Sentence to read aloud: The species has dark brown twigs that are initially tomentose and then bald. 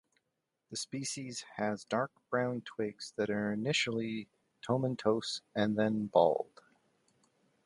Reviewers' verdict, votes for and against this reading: rejected, 1, 2